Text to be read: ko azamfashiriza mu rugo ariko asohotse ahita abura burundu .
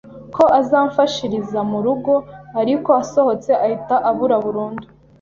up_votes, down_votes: 2, 0